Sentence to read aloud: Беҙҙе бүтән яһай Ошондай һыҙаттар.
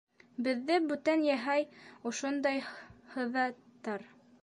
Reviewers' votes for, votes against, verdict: 2, 1, accepted